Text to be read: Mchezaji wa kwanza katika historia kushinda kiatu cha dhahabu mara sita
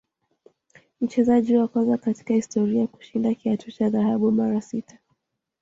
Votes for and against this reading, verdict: 2, 0, accepted